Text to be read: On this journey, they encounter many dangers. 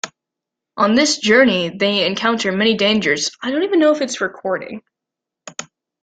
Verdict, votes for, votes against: rejected, 1, 2